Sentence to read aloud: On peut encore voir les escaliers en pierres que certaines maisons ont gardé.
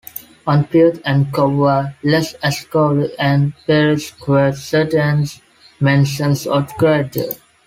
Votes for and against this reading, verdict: 1, 2, rejected